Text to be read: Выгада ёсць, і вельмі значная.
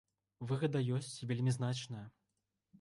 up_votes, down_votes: 1, 2